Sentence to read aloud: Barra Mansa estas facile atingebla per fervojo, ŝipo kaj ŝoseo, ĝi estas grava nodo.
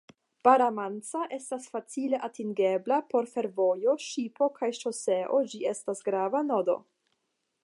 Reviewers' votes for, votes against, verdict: 5, 0, accepted